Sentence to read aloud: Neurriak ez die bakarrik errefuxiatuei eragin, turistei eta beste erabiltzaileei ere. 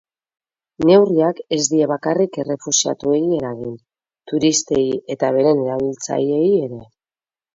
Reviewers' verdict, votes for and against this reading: rejected, 2, 2